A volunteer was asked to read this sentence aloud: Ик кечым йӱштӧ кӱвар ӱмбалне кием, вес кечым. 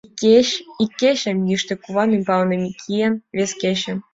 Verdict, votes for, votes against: rejected, 0, 2